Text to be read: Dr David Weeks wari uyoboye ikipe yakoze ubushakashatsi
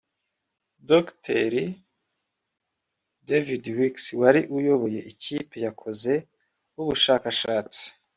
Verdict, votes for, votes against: rejected, 1, 2